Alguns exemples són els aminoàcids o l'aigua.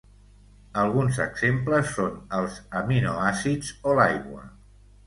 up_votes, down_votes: 3, 0